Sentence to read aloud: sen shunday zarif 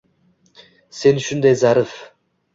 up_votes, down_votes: 1, 2